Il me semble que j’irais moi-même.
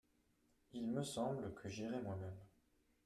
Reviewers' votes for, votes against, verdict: 2, 1, accepted